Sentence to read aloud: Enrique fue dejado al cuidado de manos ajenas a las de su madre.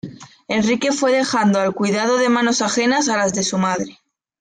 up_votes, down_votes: 0, 2